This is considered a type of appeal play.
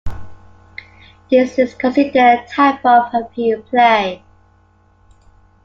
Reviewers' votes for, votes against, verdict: 0, 2, rejected